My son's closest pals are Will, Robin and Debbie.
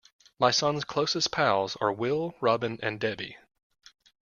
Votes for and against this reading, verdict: 2, 0, accepted